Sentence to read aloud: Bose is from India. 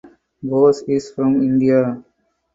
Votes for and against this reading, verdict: 4, 0, accepted